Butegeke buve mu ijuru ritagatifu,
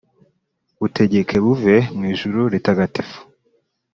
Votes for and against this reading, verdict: 2, 0, accepted